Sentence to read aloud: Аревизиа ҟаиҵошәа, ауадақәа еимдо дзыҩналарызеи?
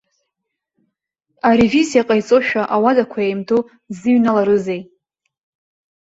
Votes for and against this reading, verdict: 2, 0, accepted